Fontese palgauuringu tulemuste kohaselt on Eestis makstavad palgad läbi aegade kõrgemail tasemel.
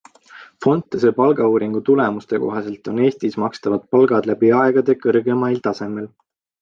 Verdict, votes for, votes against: accepted, 2, 0